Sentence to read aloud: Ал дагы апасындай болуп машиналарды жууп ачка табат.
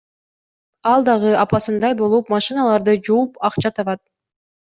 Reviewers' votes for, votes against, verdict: 2, 0, accepted